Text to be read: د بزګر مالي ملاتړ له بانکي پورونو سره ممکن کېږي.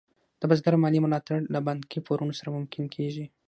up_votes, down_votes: 6, 0